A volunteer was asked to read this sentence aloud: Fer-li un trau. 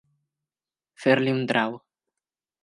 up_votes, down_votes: 2, 1